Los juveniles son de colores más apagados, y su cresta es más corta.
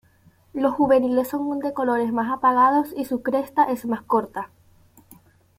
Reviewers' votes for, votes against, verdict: 1, 2, rejected